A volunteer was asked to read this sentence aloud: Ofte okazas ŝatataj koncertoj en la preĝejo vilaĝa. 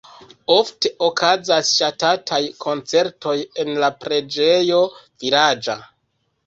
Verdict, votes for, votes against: rejected, 1, 2